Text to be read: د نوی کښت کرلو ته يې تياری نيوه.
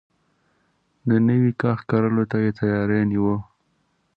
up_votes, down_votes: 2, 0